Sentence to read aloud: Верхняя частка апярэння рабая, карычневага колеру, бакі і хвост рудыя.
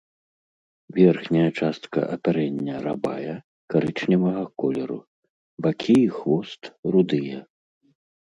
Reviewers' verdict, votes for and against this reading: rejected, 1, 2